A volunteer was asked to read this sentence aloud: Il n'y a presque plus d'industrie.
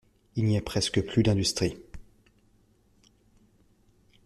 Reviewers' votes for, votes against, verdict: 2, 0, accepted